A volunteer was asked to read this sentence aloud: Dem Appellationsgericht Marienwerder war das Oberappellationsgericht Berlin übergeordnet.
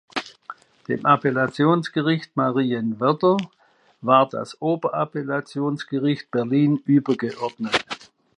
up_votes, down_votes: 2, 0